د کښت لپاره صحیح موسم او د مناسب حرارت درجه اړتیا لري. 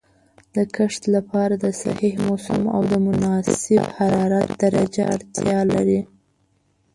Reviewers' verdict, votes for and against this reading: rejected, 0, 2